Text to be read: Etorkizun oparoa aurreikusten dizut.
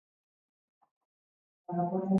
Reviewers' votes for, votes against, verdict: 0, 2, rejected